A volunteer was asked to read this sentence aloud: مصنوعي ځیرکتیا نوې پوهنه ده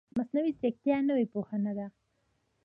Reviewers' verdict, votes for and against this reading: rejected, 1, 2